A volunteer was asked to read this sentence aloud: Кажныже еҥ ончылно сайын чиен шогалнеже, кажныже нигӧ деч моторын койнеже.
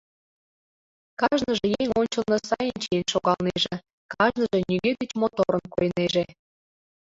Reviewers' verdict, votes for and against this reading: accepted, 3, 1